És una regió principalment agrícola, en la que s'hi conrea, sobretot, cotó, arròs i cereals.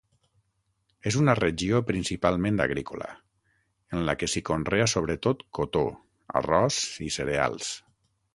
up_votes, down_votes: 6, 0